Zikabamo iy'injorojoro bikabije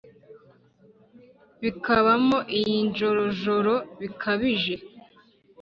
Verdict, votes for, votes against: accepted, 3, 0